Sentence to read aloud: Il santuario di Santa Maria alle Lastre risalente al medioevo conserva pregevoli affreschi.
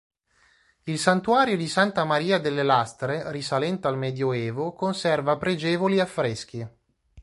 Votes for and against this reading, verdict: 1, 2, rejected